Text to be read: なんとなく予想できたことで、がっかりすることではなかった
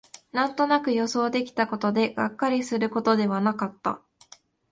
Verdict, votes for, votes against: accepted, 2, 0